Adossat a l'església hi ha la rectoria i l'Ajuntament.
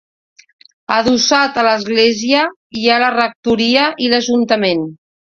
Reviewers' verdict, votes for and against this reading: accepted, 2, 0